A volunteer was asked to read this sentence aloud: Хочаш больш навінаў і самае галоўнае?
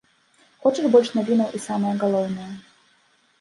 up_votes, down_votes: 1, 2